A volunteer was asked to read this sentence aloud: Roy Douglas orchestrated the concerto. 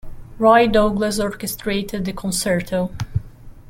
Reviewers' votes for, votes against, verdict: 2, 0, accepted